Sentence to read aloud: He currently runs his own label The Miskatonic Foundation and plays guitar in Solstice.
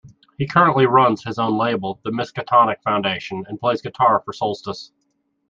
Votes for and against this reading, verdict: 2, 1, accepted